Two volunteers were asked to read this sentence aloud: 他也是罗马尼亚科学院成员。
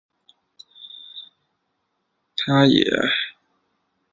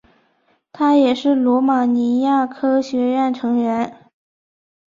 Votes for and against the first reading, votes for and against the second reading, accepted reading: 0, 4, 5, 1, second